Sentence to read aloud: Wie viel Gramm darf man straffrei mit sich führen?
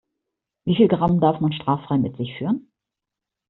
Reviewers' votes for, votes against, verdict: 2, 0, accepted